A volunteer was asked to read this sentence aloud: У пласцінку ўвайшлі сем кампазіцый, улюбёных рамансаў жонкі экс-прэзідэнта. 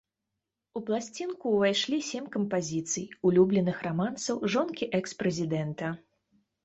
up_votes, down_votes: 1, 2